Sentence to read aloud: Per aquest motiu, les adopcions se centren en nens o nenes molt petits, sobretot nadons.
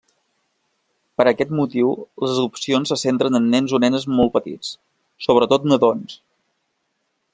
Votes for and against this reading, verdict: 3, 0, accepted